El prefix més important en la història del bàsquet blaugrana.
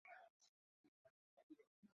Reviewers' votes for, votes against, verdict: 0, 2, rejected